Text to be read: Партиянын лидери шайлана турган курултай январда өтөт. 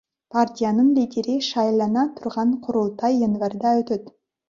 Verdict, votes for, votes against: accepted, 3, 0